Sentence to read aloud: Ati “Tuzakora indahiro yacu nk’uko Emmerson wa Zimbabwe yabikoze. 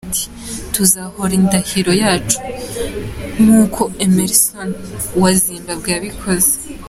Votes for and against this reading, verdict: 1, 2, rejected